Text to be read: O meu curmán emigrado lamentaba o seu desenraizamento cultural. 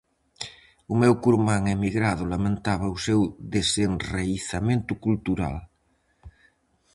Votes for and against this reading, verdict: 4, 0, accepted